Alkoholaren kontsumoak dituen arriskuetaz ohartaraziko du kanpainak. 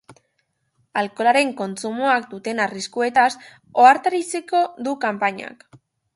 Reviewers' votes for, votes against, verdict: 0, 2, rejected